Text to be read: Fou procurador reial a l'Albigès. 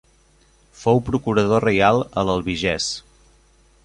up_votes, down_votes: 2, 0